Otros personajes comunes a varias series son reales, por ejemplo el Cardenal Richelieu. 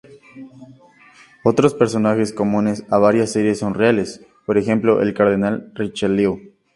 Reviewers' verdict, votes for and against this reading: rejected, 2, 2